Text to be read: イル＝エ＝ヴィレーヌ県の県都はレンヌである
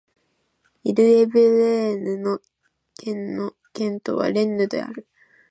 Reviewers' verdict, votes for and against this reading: rejected, 1, 3